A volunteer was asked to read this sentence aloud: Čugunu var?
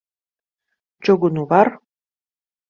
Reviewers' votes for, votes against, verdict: 2, 0, accepted